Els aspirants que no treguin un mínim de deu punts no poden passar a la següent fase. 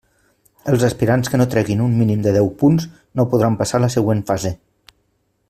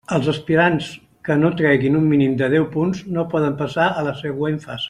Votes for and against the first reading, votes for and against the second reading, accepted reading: 0, 2, 2, 0, second